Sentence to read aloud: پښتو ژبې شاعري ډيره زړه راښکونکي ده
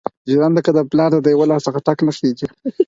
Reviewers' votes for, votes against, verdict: 2, 4, rejected